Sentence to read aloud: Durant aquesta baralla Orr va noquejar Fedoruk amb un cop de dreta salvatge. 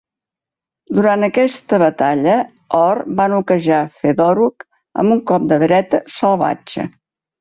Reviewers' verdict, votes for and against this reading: rejected, 0, 4